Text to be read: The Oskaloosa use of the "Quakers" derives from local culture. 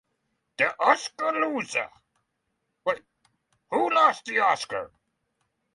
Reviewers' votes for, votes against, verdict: 0, 6, rejected